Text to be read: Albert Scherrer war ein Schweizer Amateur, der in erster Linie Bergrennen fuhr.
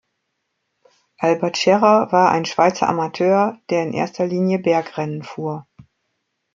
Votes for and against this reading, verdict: 2, 0, accepted